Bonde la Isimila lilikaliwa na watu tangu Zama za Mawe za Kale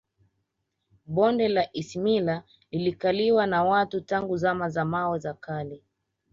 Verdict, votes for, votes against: accepted, 2, 0